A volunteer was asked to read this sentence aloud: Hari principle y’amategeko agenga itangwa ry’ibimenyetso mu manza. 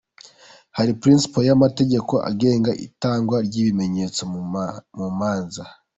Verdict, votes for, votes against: rejected, 1, 2